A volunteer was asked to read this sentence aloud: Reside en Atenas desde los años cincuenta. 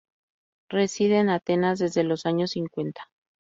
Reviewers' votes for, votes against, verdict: 2, 0, accepted